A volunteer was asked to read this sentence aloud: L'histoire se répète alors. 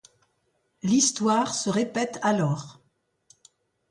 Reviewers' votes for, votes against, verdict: 2, 0, accepted